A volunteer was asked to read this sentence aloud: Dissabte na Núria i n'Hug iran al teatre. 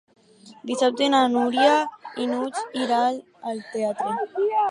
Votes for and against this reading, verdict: 2, 2, rejected